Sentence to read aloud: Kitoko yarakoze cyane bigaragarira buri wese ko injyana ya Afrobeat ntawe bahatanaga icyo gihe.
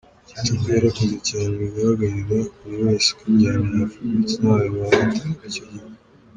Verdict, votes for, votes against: rejected, 0, 2